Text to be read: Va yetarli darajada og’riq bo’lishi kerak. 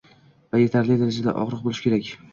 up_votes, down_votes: 2, 0